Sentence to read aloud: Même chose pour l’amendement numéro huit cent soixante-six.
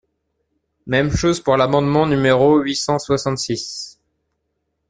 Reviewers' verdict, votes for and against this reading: accepted, 2, 0